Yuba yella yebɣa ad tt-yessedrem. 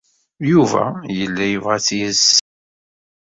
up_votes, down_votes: 0, 2